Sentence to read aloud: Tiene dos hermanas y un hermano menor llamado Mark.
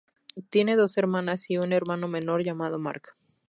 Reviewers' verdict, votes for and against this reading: accepted, 8, 0